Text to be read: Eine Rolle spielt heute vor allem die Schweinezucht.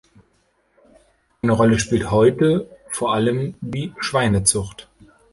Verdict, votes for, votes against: rejected, 1, 2